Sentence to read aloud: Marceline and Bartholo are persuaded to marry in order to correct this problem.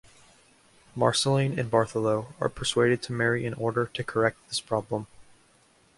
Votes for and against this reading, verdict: 2, 0, accepted